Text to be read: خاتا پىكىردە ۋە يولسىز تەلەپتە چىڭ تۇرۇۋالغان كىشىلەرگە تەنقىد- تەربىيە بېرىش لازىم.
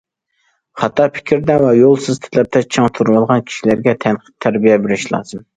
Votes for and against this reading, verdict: 1, 2, rejected